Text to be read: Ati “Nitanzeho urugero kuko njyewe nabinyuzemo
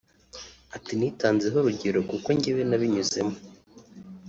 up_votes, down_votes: 2, 0